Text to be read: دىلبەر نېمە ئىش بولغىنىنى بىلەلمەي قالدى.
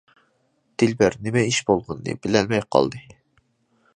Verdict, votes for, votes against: accepted, 2, 0